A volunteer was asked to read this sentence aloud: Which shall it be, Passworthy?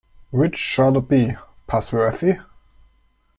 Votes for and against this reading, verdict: 2, 0, accepted